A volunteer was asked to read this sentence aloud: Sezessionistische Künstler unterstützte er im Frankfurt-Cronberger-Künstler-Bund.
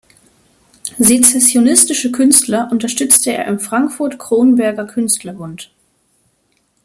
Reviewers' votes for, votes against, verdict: 2, 0, accepted